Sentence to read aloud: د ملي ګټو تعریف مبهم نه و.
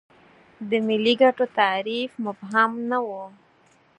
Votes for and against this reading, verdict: 2, 4, rejected